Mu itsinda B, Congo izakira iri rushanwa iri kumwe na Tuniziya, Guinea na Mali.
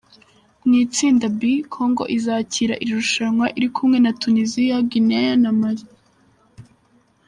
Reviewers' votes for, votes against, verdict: 2, 1, accepted